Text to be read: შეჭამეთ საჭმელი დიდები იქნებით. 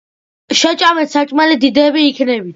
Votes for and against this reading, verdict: 2, 1, accepted